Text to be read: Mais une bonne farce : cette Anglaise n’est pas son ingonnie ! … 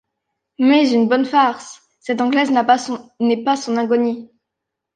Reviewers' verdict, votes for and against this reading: rejected, 0, 2